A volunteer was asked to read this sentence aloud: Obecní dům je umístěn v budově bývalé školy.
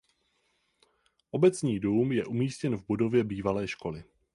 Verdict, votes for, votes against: accepted, 4, 0